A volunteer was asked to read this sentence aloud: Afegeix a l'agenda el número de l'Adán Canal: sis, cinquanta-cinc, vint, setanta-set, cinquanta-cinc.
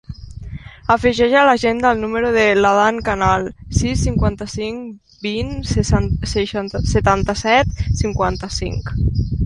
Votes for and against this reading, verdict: 0, 2, rejected